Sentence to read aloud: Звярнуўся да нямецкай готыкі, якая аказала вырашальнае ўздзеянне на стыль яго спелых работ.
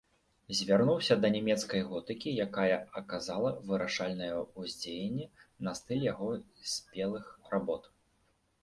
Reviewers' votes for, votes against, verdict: 0, 2, rejected